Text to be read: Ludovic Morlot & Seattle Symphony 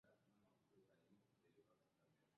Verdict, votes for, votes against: rejected, 0, 2